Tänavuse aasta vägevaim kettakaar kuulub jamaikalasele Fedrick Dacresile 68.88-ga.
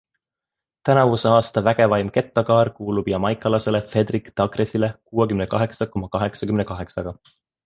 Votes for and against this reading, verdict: 0, 2, rejected